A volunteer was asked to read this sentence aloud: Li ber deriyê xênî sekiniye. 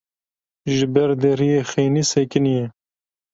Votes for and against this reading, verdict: 0, 2, rejected